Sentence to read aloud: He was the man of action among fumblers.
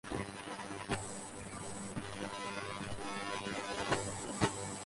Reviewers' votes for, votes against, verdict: 0, 4, rejected